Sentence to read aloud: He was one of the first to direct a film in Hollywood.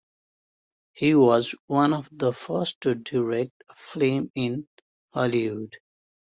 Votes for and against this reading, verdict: 0, 2, rejected